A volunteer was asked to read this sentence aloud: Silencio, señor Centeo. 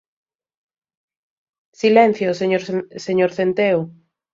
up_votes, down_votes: 0, 2